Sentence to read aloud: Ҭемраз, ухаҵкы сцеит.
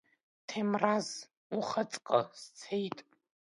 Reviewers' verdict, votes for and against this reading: accepted, 2, 0